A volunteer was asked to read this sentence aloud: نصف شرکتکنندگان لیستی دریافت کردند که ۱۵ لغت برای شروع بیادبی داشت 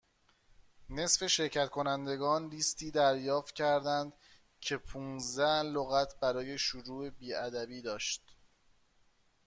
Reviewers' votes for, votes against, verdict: 0, 2, rejected